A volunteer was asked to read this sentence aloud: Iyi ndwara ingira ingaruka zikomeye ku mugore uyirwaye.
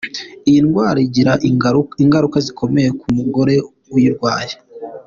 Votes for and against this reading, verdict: 2, 0, accepted